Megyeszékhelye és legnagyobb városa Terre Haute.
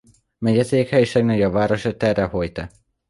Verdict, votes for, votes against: rejected, 1, 2